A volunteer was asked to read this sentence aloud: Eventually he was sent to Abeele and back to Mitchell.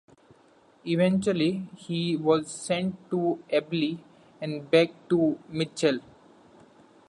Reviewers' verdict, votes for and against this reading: accepted, 2, 0